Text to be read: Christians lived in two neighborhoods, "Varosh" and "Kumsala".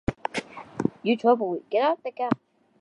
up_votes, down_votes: 0, 2